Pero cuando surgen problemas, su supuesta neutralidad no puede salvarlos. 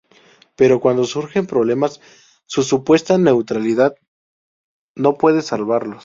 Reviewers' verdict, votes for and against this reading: accepted, 2, 0